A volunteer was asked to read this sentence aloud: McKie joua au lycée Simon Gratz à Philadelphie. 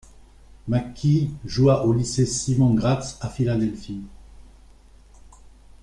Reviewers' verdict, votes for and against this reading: accepted, 2, 1